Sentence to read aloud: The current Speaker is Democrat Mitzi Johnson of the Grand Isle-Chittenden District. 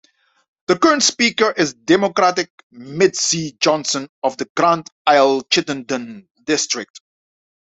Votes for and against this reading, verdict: 0, 2, rejected